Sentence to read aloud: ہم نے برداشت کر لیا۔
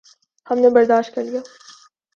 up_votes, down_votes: 3, 0